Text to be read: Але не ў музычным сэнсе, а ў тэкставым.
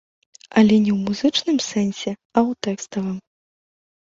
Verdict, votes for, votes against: accepted, 2, 0